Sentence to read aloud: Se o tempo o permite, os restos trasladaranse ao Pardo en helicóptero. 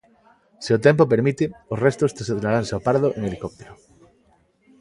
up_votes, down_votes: 0, 2